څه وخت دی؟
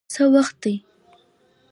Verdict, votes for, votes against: accepted, 2, 0